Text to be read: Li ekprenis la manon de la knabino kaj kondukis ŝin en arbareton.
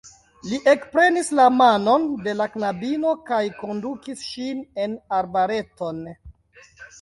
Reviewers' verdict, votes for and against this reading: accepted, 2, 1